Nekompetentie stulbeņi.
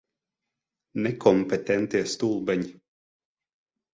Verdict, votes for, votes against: accepted, 12, 0